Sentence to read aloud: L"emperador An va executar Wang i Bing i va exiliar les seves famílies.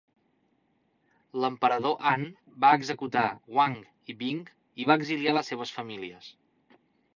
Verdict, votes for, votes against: accepted, 3, 1